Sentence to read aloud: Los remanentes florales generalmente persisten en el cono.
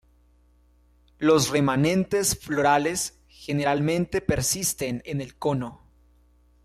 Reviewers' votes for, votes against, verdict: 2, 0, accepted